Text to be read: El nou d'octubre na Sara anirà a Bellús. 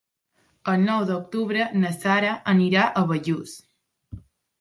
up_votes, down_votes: 3, 0